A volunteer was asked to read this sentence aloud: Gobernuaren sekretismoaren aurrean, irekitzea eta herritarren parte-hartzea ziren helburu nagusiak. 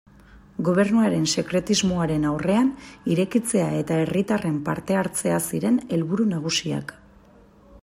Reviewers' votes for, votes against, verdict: 2, 0, accepted